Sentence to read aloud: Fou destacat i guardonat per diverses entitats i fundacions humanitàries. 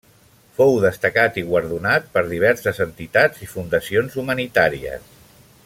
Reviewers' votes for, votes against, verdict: 3, 0, accepted